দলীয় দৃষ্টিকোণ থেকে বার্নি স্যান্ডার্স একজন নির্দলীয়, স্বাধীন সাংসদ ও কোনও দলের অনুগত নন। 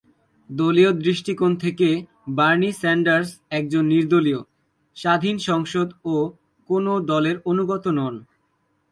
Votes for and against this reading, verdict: 2, 0, accepted